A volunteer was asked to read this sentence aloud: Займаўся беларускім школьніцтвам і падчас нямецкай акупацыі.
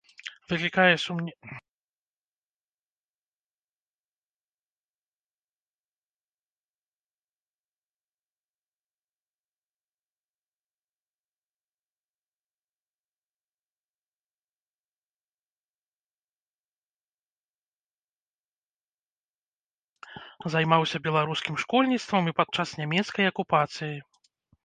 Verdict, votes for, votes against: rejected, 0, 2